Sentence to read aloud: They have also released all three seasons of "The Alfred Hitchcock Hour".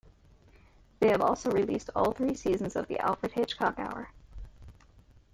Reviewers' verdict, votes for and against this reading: rejected, 1, 2